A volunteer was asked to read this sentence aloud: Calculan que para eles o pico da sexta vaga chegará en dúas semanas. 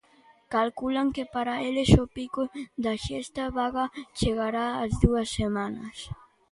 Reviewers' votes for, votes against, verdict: 1, 2, rejected